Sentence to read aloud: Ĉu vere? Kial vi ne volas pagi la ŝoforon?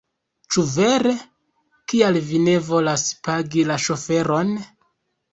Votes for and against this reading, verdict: 0, 2, rejected